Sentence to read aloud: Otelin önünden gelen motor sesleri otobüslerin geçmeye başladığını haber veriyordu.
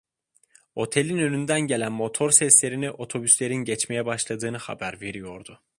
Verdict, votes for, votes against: accepted, 2, 1